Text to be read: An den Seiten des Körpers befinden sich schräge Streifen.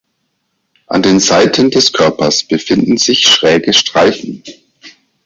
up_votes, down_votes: 2, 4